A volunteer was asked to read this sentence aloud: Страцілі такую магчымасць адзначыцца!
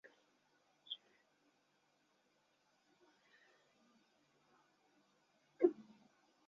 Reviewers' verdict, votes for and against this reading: rejected, 0, 2